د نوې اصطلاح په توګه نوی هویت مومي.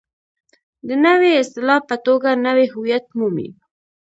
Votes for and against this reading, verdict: 0, 2, rejected